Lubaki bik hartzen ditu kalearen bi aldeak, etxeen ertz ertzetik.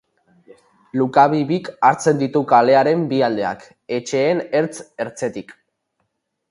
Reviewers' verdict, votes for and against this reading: rejected, 0, 2